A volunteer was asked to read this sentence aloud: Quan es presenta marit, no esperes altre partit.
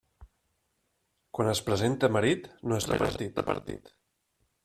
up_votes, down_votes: 0, 2